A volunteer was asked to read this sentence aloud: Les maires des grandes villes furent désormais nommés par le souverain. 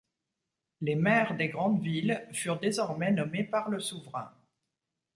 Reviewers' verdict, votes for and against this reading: accepted, 2, 0